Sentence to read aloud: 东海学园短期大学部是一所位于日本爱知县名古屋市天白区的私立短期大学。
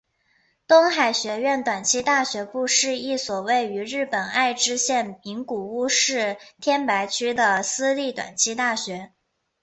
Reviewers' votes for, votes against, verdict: 2, 1, accepted